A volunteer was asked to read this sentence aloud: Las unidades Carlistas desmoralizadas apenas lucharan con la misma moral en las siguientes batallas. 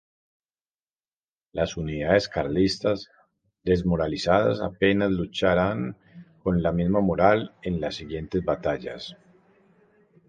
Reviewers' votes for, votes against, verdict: 0, 2, rejected